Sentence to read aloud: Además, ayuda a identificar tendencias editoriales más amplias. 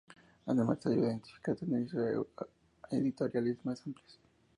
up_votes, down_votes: 2, 0